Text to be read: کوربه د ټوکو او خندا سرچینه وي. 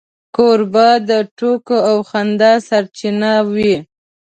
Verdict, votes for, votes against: accepted, 3, 0